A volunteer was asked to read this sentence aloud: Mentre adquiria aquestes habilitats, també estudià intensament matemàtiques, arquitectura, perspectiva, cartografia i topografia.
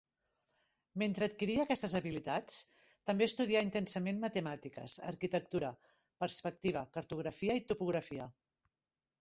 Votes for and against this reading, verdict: 4, 1, accepted